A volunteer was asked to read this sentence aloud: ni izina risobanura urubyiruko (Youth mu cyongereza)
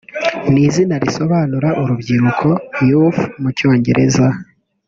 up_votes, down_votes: 0, 2